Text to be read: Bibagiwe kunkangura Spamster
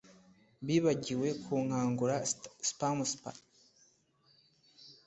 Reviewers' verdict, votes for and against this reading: rejected, 1, 2